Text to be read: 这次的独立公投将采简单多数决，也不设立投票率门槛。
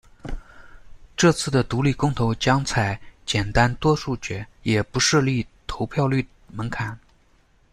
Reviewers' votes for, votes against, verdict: 2, 1, accepted